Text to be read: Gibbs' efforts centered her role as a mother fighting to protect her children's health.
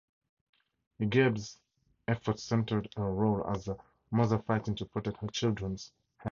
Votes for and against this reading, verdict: 0, 4, rejected